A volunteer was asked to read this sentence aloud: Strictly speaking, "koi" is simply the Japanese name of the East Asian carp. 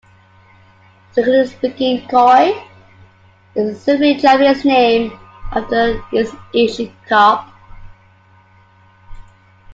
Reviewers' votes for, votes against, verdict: 0, 2, rejected